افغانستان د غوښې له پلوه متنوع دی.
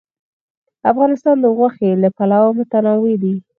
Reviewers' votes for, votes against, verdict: 2, 4, rejected